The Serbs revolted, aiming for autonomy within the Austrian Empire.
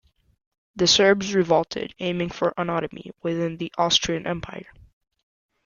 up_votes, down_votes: 2, 0